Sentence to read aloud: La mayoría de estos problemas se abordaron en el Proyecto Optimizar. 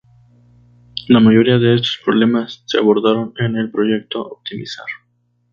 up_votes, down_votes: 4, 0